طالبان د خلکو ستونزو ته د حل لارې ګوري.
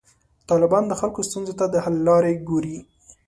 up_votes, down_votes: 2, 0